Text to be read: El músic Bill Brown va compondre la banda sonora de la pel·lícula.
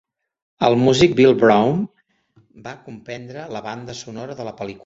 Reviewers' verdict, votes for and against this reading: rejected, 0, 2